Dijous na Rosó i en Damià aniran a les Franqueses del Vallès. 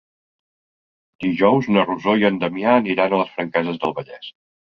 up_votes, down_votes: 2, 0